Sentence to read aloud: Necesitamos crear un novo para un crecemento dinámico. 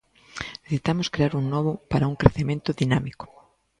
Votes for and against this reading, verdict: 1, 2, rejected